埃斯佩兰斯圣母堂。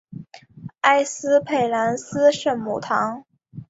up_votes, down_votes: 3, 0